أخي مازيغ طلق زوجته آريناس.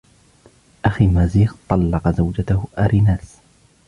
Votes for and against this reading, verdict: 2, 0, accepted